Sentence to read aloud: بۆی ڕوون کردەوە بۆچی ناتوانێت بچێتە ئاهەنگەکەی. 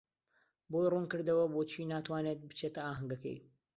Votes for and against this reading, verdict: 2, 0, accepted